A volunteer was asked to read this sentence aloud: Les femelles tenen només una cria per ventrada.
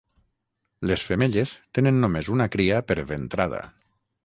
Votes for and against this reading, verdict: 3, 3, rejected